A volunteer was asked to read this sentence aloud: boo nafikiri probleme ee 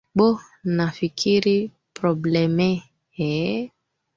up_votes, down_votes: 2, 3